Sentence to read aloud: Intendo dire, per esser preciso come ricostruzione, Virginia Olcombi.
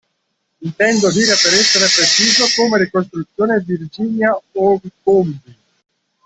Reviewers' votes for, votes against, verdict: 0, 2, rejected